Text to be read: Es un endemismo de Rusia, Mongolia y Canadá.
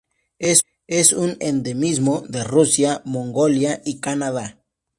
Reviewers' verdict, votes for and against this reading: rejected, 0, 2